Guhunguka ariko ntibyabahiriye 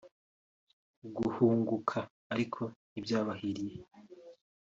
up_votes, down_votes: 2, 1